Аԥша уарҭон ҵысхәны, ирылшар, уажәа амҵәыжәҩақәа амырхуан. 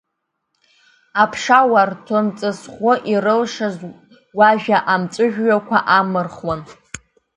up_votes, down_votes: 2, 0